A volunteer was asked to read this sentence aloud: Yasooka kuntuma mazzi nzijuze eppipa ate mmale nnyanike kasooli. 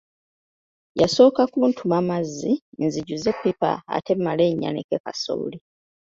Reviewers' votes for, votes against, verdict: 2, 0, accepted